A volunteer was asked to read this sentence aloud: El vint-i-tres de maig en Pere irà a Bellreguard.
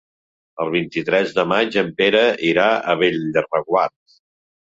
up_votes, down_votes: 0, 2